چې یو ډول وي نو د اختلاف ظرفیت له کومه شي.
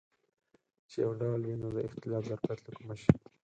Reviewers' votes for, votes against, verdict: 2, 4, rejected